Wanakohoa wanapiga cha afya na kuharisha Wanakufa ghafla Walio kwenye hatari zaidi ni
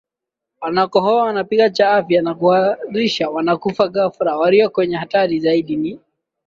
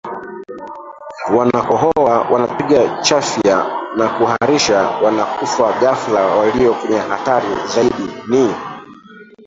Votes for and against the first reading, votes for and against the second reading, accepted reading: 2, 0, 0, 2, first